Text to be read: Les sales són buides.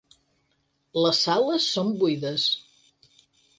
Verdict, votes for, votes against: accepted, 6, 0